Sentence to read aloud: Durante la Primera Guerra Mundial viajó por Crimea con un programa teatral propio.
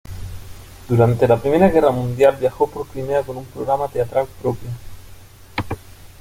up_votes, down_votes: 2, 0